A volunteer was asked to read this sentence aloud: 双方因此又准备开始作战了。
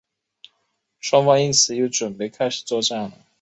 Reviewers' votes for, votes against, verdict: 2, 0, accepted